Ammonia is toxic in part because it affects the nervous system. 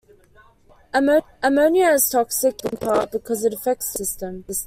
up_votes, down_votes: 0, 2